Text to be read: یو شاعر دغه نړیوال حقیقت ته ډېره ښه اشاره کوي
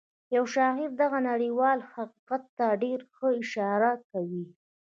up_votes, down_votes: 2, 0